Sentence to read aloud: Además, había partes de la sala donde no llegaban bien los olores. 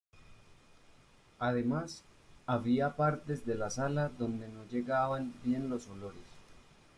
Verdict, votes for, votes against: accepted, 2, 0